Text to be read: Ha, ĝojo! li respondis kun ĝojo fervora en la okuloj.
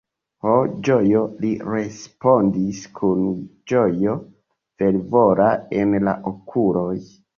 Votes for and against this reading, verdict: 2, 0, accepted